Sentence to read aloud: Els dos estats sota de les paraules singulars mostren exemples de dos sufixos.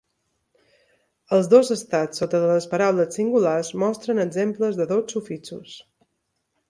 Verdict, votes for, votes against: accepted, 2, 0